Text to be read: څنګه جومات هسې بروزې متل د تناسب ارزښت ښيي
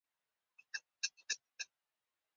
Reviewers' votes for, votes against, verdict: 0, 2, rejected